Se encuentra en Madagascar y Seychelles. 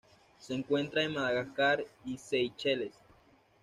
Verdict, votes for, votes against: accepted, 2, 0